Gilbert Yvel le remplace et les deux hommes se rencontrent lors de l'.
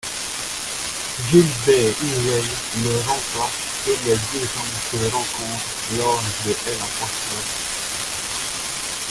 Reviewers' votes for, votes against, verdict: 0, 2, rejected